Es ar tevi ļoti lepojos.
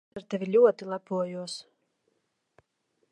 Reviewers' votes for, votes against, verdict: 0, 2, rejected